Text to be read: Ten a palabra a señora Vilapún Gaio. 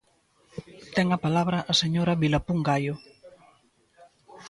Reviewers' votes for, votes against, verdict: 2, 0, accepted